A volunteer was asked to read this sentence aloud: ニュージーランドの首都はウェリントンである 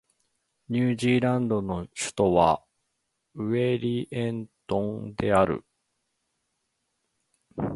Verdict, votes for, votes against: rejected, 0, 2